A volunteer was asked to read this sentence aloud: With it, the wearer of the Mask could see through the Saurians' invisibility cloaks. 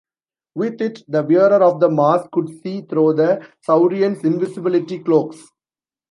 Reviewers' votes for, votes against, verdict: 1, 2, rejected